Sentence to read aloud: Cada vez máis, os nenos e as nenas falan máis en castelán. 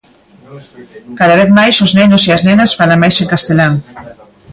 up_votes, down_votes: 0, 2